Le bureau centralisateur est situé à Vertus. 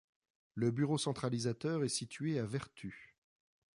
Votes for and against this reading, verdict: 1, 2, rejected